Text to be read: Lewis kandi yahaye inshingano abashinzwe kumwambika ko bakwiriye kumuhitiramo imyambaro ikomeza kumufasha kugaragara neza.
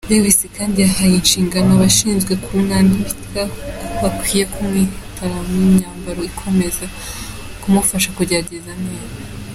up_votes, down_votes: 0, 2